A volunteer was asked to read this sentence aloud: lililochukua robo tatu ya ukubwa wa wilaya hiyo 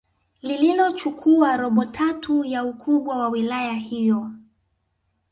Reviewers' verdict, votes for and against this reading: accepted, 2, 0